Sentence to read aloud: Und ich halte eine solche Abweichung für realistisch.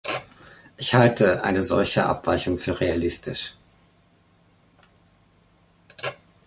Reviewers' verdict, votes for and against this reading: rejected, 0, 2